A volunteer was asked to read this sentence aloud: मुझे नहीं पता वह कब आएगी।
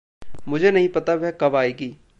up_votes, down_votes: 1, 2